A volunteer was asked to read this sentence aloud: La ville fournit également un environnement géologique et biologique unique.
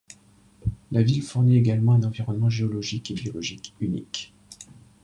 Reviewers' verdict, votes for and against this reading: accepted, 2, 0